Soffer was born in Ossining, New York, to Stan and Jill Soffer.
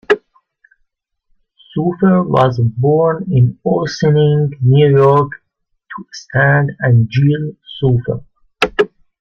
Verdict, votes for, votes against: rejected, 1, 2